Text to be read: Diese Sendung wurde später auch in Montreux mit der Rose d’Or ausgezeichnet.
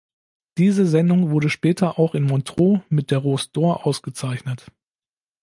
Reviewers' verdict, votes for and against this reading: rejected, 1, 2